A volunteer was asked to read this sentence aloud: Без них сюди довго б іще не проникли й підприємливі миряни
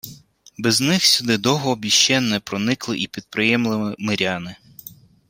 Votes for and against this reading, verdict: 2, 1, accepted